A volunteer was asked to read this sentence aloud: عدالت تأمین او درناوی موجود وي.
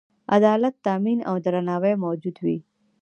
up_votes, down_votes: 1, 2